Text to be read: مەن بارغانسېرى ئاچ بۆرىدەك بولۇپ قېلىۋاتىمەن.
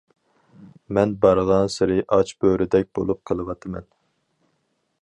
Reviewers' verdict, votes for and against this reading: accepted, 4, 0